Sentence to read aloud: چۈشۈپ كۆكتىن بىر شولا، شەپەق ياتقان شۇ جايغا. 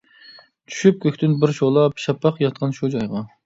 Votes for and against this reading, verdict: 1, 2, rejected